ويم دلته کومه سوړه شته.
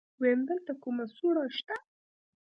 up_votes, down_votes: 2, 0